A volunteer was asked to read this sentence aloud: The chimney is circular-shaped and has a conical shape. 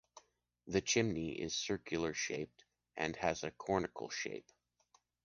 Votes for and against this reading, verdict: 2, 0, accepted